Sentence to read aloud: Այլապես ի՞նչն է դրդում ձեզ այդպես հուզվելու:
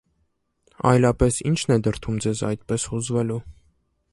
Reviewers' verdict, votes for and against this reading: accepted, 2, 0